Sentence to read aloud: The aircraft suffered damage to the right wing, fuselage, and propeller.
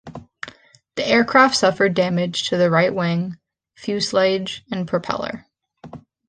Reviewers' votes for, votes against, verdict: 0, 2, rejected